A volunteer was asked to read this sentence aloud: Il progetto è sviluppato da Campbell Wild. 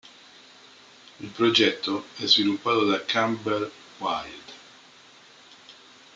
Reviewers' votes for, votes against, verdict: 2, 1, accepted